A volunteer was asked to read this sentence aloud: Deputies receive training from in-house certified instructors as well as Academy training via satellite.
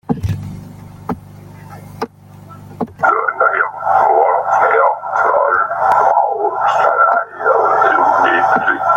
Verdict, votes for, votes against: rejected, 0, 2